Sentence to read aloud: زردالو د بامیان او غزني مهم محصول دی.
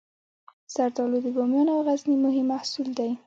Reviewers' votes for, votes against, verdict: 0, 2, rejected